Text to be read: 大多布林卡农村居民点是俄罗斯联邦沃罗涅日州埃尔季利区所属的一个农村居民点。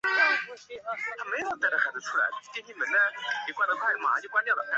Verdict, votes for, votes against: rejected, 0, 3